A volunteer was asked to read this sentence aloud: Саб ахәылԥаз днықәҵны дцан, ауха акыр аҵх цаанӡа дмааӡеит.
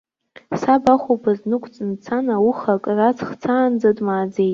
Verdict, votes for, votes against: accepted, 2, 0